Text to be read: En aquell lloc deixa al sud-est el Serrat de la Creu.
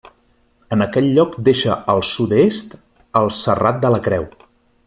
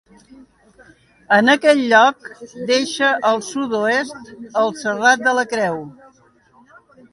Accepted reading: first